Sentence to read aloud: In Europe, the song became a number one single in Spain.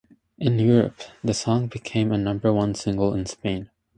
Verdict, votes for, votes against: accepted, 2, 0